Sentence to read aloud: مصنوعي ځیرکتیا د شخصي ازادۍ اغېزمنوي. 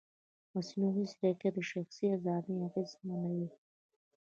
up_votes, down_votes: 1, 2